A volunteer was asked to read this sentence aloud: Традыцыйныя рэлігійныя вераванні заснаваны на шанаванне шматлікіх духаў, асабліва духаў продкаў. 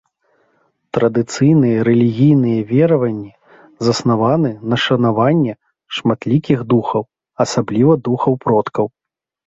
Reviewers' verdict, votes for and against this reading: accepted, 2, 0